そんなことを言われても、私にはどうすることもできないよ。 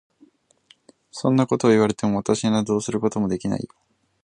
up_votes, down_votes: 4, 0